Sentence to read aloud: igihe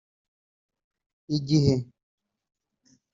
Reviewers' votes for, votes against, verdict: 3, 0, accepted